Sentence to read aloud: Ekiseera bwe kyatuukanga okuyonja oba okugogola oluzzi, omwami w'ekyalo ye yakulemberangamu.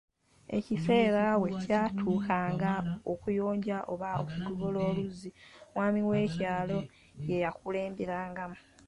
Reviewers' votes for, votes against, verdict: 1, 2, rejected